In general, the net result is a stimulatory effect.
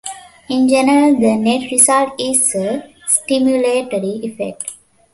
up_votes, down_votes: 2, 1